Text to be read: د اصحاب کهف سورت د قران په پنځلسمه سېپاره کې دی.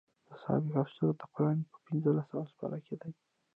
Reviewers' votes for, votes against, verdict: 1, 2, rejected